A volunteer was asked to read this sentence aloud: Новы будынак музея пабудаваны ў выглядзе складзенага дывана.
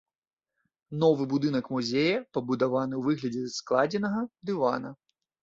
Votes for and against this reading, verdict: 0, 2, rejected